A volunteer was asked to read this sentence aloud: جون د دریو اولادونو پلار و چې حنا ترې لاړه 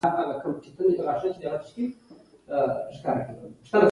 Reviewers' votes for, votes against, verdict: 1, 2, rejected